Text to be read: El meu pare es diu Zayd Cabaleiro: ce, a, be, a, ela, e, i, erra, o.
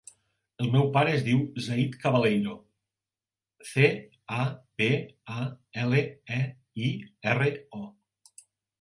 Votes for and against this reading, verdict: 3, 2, accepted